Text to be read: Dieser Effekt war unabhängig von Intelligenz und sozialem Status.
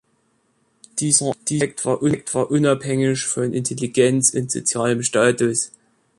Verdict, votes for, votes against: rejected, 0, 3